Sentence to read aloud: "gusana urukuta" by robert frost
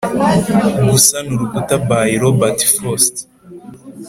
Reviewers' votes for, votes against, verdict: 3, 0, accepted